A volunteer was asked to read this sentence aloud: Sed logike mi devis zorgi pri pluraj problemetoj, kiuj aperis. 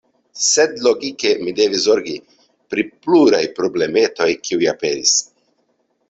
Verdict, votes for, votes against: accepted, 2, 0